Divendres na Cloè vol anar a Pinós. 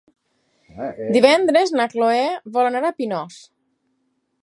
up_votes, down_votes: 6, 4